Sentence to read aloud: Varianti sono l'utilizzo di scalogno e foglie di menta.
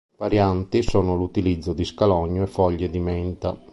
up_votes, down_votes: 2, 0